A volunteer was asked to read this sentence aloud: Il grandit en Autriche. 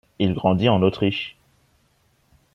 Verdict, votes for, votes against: accepted, 2, 0